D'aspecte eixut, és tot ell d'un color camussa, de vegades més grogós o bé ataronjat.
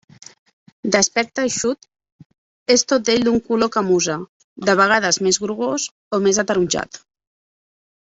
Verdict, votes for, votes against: rejected, 0, 2